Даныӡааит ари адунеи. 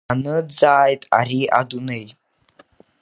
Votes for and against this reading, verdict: 2, 0, accepted